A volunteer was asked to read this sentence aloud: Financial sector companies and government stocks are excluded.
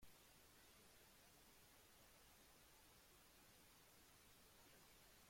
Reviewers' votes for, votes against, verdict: 0, 2, rejected